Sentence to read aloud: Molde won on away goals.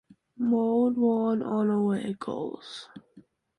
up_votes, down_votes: 2, 1